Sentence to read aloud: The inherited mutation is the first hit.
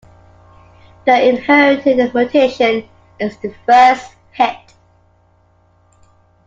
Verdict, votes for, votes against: rejected, 0, 2